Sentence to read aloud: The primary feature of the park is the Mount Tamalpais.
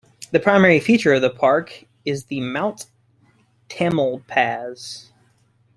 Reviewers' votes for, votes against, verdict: 1, 2, rejected